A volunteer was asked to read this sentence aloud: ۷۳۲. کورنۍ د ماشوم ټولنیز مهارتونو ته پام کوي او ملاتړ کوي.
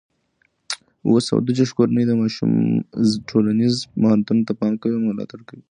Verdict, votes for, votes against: rejected, 0, 2